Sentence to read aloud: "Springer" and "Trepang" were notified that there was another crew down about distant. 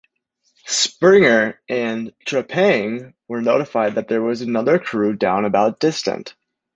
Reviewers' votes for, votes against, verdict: 2, 0, accepted